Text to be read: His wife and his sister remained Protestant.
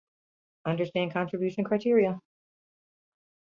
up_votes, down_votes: 0, 2